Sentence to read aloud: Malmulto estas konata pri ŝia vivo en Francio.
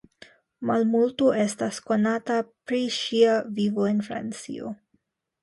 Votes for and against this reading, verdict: 2, 0, accepted